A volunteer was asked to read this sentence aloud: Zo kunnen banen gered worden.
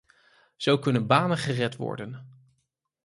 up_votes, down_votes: 4, 0